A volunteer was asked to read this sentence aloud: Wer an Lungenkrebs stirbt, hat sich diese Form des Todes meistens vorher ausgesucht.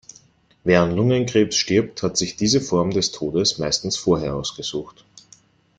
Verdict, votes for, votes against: accepted, 2, 0